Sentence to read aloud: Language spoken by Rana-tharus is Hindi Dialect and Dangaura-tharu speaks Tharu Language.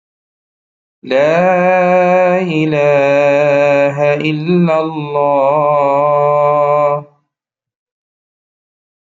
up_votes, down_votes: 0, 2